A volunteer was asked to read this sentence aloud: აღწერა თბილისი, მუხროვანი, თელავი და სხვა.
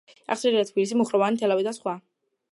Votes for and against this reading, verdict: 0, 2, rejected